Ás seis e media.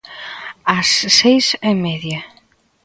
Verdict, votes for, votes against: accepted, 2, 1